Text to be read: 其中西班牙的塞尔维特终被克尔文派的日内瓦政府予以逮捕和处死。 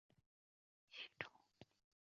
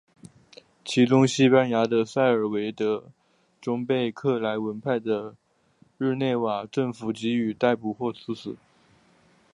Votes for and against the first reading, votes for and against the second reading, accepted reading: 0, 3, 3, 1, second